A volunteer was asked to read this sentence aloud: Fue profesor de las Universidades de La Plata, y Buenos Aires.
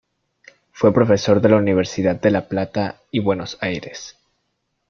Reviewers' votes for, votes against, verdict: 1, 2, rejected